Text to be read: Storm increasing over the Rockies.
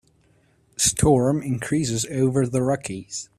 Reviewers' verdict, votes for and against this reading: rejected, 0, 2